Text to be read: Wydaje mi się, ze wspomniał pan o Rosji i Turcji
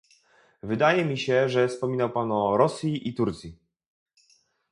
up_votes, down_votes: 2, 0